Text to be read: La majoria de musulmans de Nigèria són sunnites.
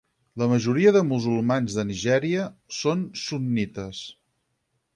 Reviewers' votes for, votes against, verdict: 4, 0, accepted